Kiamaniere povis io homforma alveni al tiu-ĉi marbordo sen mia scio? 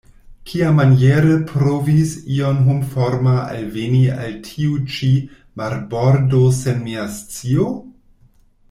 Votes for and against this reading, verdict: 1, 2, rejected